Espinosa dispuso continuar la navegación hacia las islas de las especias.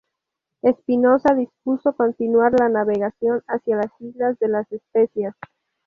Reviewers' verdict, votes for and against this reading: rejected, 2, 2